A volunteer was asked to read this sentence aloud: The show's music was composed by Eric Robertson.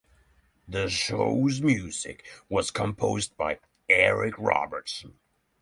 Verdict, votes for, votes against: accepted, 6, 0